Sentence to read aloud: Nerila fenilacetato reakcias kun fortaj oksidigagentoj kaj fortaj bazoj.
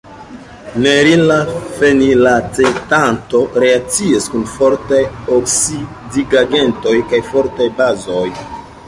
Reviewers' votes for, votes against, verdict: 0, 2, rejected